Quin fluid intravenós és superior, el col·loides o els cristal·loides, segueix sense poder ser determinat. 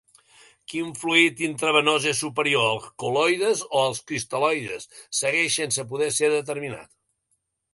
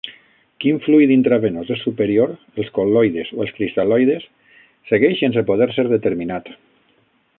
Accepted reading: first